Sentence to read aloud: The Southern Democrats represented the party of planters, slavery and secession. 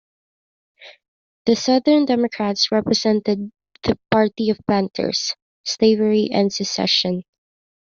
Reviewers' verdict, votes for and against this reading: accepted, 2, 0